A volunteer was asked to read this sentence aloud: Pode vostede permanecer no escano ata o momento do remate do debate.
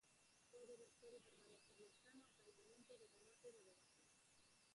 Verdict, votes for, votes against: rejected, 0, 4